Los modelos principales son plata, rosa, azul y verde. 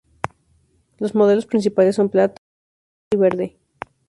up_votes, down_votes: 0, 2